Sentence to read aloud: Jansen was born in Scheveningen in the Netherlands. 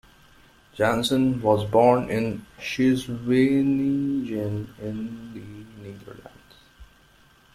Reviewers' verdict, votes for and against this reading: rejected, 0, 2